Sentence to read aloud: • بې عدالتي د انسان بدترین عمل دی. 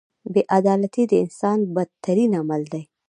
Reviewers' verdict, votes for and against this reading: accepted, 2, 0